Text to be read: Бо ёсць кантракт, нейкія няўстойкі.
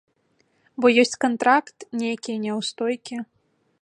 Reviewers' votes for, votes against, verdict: 2, 0, accepted